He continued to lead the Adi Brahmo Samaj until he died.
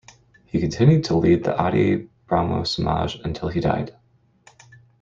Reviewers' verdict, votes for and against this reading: accepted, 2, 1